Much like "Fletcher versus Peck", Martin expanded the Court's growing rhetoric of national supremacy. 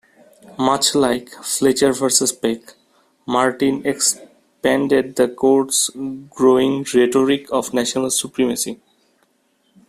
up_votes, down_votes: 2, 0